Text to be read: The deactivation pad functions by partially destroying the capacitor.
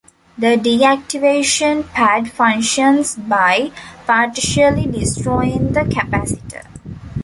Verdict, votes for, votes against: rejected, 1, 2